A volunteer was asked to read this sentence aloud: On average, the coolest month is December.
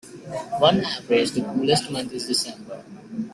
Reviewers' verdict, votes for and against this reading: rejected, 1, 2